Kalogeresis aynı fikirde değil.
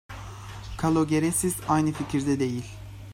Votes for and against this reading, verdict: 2, 0, accepted